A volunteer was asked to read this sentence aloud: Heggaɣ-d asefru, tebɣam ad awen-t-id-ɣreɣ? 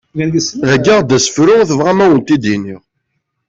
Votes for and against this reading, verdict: 1, 2, rejected